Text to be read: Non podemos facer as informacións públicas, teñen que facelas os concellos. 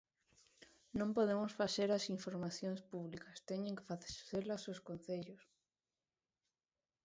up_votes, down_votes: 1, 2